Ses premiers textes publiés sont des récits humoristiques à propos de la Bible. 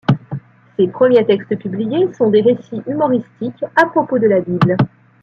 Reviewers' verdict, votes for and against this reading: accepted, 2, 0